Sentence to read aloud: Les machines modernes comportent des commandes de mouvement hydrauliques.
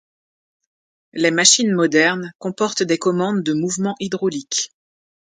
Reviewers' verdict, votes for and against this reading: accepted, 2, 0